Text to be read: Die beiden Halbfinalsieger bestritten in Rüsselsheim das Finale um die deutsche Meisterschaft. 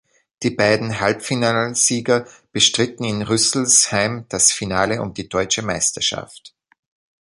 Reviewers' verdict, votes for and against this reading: rejected, 2, 3